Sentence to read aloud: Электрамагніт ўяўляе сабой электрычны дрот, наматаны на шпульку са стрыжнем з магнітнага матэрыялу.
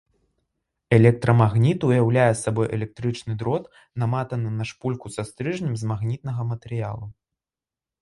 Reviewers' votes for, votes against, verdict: 1, 2, rejected